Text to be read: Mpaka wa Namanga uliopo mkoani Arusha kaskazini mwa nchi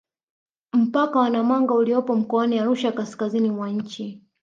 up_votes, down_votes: 4, 0